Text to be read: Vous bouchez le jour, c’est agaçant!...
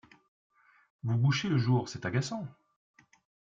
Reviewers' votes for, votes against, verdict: 2, 0, accepted